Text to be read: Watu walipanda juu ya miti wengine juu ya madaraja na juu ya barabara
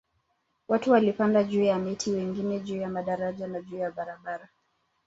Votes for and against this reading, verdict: 2, 0, accepted